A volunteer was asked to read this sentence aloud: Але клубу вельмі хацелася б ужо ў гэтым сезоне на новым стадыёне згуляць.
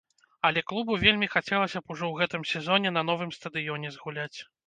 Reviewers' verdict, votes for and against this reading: accepted, 2, 0